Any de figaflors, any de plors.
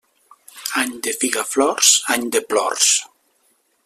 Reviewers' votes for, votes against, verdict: 3, 0, accepted